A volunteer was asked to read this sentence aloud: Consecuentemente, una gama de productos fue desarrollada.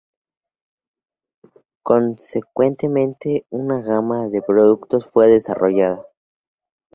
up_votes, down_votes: 2, 0